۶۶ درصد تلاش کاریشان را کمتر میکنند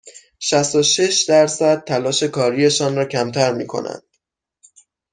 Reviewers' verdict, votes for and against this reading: rejected, 0, 2